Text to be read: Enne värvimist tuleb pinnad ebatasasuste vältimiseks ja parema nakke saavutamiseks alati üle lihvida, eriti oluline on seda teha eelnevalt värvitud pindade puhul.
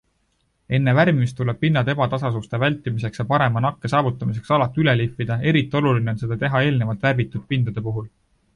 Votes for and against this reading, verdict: 2, 1, accepted